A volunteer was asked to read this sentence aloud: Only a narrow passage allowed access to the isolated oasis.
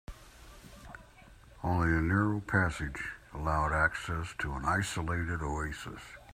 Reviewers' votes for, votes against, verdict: 1, 2, rejected